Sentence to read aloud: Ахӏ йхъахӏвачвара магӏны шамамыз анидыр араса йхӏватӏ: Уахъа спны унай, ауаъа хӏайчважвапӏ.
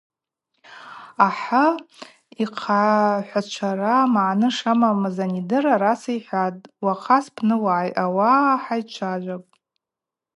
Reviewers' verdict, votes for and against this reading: rejected, 0, 4